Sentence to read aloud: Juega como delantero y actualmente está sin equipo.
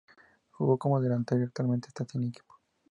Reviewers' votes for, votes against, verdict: 2, 2, rejected